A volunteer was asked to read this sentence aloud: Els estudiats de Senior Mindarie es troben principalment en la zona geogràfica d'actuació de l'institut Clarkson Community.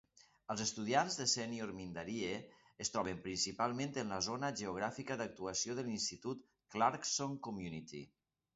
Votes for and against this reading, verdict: 3, 0, accepted